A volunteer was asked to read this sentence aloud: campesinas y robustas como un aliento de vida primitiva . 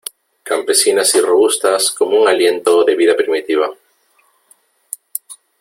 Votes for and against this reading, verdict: 3, 0, accepted